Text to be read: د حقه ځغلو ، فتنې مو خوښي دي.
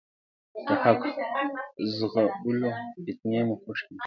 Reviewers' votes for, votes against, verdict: 0, 2, rejected